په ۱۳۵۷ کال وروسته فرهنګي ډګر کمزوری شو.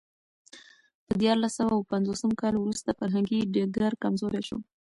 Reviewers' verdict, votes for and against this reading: rejected, 0, 2